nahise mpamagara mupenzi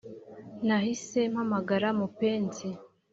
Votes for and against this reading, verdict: 2, 0, accepted